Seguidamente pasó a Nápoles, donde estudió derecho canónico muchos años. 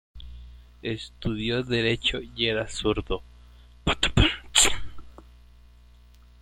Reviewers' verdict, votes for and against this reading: rejected, 0, 2